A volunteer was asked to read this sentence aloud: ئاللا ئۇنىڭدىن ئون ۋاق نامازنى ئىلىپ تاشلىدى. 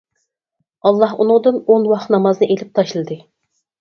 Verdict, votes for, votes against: accepted, 6, 0